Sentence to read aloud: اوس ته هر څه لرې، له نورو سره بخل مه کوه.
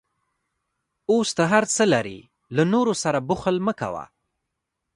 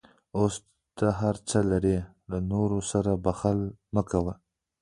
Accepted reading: second